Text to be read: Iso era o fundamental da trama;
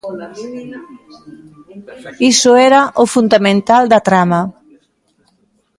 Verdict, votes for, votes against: rejected, 0, 2